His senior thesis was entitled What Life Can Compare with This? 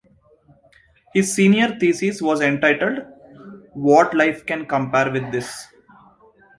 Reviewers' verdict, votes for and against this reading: accepted, 2, 0